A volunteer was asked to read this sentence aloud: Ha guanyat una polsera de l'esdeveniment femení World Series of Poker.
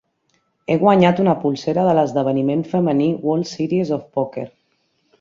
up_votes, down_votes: 2, 3